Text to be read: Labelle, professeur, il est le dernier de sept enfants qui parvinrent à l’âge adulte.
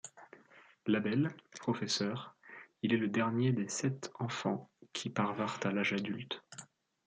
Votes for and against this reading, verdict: 0, 2, rejected